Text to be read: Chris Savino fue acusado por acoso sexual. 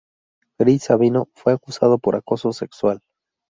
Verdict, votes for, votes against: accepted, 2, 0